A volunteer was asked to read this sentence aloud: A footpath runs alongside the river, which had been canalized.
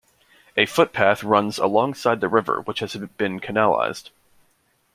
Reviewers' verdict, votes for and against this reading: rejected, 0, 2